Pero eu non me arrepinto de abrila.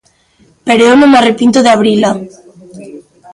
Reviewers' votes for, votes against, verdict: 2, 0, accepted